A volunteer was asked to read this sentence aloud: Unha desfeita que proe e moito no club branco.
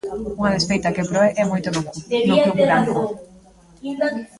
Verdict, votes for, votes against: rejected, 0, 2